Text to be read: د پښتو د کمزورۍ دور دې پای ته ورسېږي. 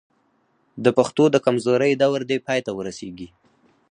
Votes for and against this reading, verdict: 2, 4, rejected